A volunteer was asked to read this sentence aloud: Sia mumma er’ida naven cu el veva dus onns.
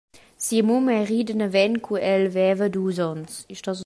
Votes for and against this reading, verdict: 0, 2, rejected